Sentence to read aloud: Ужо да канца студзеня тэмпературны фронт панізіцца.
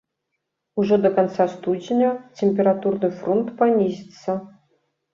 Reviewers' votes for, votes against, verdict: 1, 2, rejected